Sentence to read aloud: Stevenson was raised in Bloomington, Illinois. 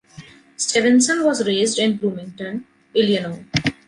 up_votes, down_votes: 1, 2